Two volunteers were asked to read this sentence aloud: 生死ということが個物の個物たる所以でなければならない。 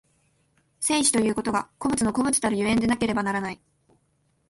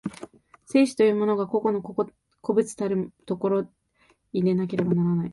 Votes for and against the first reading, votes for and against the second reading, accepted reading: 2, 0, 0, 2, first